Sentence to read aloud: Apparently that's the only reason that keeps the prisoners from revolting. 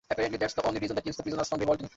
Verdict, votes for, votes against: rejected, 0, 2